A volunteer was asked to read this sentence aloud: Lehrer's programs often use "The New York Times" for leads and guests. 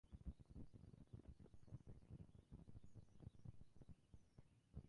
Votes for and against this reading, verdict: 0, 2, rejected